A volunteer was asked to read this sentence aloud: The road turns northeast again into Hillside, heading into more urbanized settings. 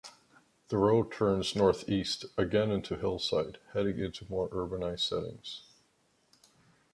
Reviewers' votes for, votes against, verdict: 2, 1, accepted